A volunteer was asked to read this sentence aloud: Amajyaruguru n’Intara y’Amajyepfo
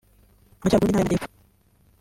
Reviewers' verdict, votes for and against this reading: rejected, 0, 2